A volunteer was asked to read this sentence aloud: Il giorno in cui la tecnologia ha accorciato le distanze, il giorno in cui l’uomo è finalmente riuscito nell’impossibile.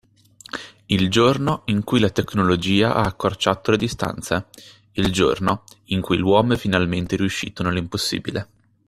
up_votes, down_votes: 2, 0